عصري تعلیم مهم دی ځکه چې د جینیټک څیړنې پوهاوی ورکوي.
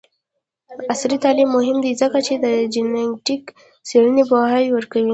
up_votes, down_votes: 0, 2